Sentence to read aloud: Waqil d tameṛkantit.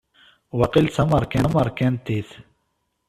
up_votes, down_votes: 1, 2